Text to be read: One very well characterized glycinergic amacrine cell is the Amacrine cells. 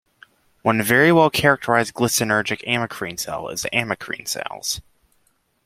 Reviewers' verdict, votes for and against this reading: accepted, 2, 0